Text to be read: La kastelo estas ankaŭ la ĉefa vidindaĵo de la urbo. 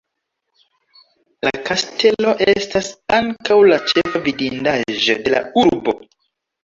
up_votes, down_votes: 1, 2